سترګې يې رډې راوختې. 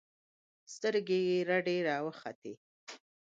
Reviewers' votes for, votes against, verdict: 2, 1, accepted